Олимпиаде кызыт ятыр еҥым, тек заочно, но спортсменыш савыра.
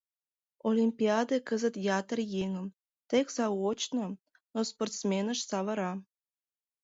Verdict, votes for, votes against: rejected, 1, 2